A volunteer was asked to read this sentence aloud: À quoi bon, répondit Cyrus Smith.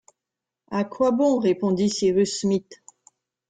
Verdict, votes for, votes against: accepted, 2, 0